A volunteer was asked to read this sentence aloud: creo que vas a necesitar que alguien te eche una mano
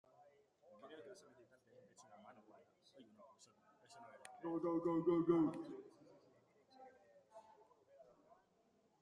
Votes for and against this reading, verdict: 0, 2, rejected